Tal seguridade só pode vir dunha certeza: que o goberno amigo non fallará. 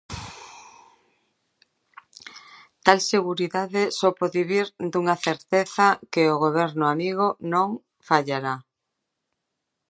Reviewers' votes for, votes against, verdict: 2, 0, accepted